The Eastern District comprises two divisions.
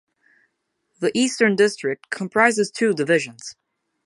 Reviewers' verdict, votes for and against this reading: accepted, 2, 0